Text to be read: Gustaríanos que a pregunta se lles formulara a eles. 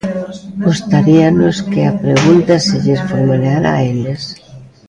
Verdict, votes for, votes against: rejected, 0, 2